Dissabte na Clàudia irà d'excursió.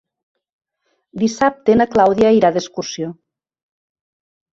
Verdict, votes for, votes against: accepted, 3, 0